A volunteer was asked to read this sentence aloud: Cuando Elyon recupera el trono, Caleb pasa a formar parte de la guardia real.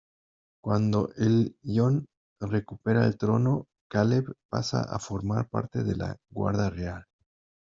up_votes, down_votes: 0, 2